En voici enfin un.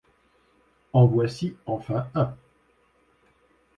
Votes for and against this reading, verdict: 2, 0, accepted